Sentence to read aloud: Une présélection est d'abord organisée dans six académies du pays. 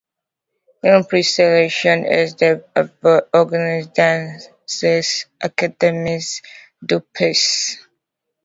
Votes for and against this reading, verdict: 0, 2, rejected